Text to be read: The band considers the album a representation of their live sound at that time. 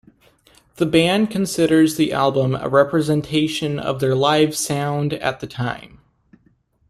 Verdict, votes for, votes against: rejected, 1, 2